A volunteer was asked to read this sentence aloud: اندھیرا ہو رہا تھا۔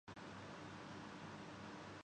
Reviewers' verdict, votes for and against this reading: rejected, 0, 3